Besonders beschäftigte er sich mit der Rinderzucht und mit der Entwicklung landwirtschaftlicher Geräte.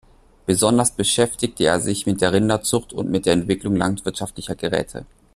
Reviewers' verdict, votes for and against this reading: accepted, 2, 0